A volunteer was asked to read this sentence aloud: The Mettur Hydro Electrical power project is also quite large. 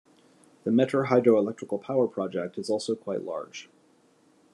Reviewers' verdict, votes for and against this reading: accepted, 2, 0